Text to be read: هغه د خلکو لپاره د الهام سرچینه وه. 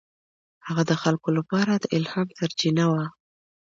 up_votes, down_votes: 2, 0